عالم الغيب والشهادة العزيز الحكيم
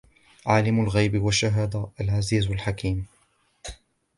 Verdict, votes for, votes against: accepted, 2, 0